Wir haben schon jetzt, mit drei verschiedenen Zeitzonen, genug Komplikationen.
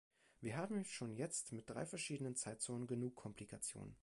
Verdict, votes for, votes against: accepted, 2, 0